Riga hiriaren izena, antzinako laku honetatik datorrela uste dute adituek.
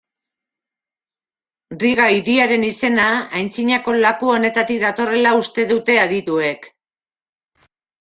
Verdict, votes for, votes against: accepted, 2, 0